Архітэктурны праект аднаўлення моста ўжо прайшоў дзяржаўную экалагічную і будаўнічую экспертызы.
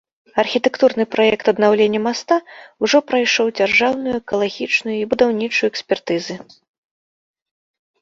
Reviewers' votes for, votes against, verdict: 0, 2, rejected